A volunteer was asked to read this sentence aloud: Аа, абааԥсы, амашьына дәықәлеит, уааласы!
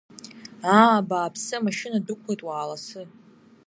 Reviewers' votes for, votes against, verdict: 0, 2, rejected